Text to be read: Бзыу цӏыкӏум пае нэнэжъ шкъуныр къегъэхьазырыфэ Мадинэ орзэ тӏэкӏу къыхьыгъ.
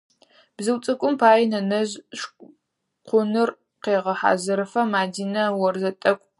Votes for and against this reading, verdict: 2, 4, rejected